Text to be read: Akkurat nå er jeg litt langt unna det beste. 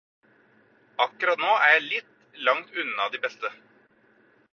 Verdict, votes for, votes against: rejected, 2, 4